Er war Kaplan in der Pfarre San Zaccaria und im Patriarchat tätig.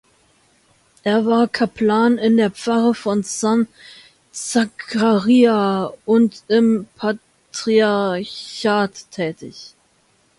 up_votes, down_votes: 0, 2